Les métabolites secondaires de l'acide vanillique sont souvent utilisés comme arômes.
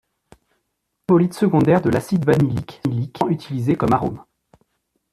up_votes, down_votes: 0, 2